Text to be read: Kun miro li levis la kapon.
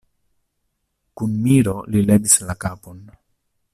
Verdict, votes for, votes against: accepted, 2, 0